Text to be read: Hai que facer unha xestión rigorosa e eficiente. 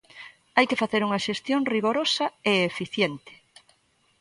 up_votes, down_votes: 2, 0